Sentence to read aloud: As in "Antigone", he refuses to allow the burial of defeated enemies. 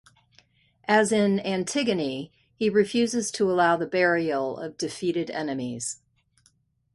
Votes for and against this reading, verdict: 2, 0, accepted